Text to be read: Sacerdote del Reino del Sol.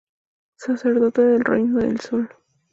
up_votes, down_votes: 2, 0